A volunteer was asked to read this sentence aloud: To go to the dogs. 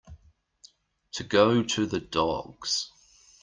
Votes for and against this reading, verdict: 2, 0, accepted